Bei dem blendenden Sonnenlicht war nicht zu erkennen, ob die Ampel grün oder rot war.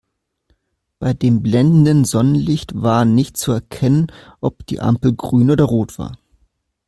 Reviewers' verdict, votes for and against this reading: accepted, 2, 0